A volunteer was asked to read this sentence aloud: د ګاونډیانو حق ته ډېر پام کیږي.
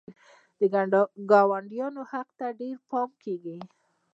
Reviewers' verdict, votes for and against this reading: rejected, 1, 2